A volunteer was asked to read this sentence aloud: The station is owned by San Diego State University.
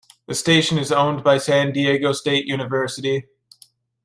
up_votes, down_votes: 2, 0